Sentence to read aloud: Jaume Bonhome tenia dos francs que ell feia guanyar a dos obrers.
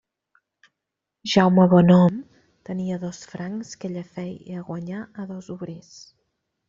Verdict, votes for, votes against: rejected, 1, 2